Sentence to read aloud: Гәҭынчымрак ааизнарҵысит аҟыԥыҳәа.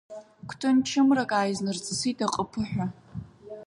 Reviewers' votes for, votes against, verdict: 2, 1, accepted